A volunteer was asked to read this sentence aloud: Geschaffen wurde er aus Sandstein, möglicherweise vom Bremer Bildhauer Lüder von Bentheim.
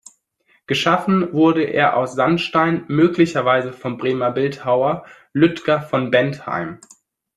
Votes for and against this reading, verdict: 0, 2, rejected